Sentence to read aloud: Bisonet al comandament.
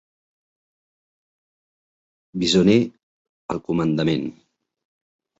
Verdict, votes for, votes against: rejected, 1, 2